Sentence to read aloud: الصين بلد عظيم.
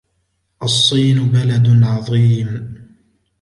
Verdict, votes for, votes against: accepted, 2, 0